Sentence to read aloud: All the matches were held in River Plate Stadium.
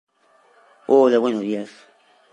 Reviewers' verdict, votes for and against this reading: rejected, 0, 2